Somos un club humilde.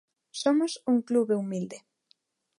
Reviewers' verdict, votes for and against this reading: rejected, 0, 2